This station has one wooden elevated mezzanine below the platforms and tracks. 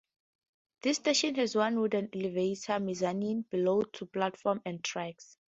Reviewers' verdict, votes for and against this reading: accepted, 2, 0